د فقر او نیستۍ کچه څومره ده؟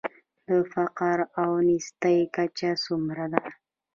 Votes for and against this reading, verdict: 0, 2, rejected